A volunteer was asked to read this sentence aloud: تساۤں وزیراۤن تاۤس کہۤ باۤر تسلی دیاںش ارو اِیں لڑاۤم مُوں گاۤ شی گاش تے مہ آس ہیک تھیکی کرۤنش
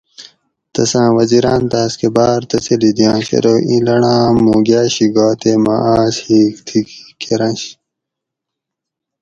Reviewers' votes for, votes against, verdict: 2, 2, rejected